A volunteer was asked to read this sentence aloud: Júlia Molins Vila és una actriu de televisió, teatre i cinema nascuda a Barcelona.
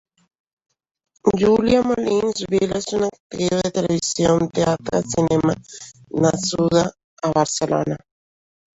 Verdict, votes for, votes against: rejected, 1, 2